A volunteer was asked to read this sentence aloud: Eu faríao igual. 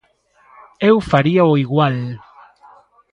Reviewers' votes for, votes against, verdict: 2, 0, accepted